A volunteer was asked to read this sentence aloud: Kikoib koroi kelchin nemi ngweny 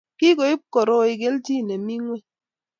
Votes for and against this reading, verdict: 2, 0, accepted